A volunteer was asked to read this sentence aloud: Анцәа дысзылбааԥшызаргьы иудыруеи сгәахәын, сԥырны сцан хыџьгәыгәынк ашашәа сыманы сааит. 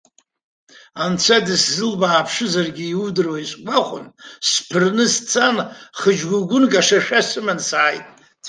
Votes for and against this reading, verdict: 2, 0, accepted